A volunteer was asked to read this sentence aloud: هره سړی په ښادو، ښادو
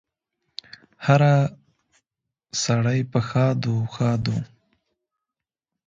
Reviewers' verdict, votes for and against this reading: rejected, 1, 2